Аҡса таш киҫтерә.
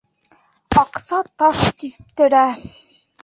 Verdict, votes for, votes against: rejected, 0, 2